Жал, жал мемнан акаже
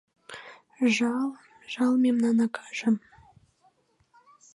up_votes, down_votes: 2, 0